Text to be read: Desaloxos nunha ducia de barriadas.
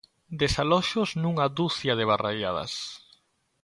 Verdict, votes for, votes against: rejected, 1, 2